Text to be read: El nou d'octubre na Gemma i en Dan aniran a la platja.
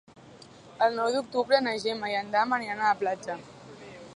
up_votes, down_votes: 1, 2